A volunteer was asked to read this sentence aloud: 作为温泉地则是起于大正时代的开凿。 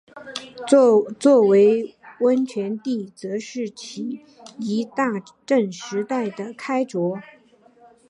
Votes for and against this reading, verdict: 1, 2, rejected